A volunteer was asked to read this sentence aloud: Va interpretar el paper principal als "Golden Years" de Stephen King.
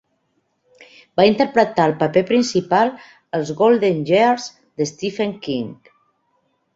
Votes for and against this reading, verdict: 3, 0, accepted